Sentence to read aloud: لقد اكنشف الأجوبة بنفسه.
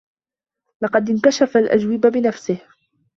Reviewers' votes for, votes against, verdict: 2, 1, accepted